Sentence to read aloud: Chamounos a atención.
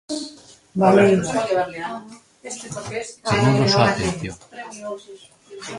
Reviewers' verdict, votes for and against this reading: rejected, 0, 2